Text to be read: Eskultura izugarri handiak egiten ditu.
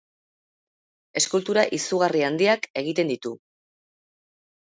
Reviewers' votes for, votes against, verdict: 2, 0, accepted